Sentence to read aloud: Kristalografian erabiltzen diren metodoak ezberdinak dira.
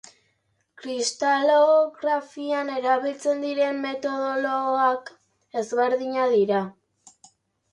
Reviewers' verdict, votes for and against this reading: rejected, 1, 3